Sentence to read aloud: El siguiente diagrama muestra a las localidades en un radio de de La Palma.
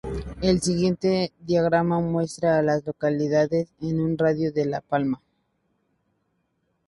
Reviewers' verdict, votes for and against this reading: accepted, 4, 0